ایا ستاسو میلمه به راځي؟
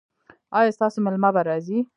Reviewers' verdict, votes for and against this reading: accepted, 2, 0